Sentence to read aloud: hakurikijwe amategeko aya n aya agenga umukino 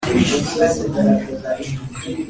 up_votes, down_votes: 1, 2